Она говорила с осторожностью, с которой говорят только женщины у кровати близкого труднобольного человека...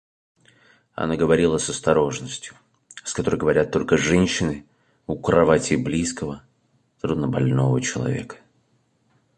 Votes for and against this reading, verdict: 2, 0, accepted